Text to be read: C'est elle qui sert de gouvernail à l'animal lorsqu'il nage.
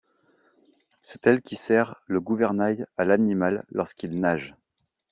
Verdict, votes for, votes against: rejected, 0, 2